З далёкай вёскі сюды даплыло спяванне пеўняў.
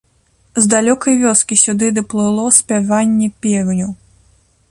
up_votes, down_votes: 1, 2